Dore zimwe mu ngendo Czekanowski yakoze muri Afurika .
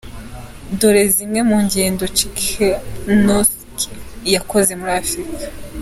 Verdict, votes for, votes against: accepted, 2, 0